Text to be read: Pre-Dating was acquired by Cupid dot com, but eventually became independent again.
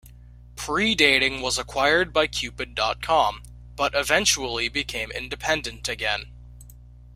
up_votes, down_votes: 2, 0